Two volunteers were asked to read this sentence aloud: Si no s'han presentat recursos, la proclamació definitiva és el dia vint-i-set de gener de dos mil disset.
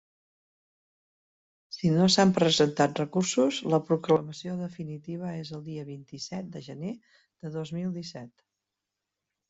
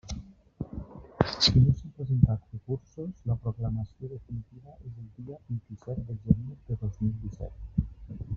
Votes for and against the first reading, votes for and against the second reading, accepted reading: 3, 0, 0, 2, first